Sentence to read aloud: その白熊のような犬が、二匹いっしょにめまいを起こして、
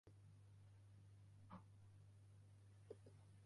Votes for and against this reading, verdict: 1, 4, rejected